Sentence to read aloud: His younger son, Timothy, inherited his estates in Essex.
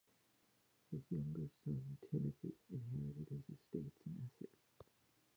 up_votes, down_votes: 0, 2